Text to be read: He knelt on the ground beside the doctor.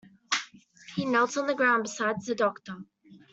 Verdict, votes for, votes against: rejected, 1, 2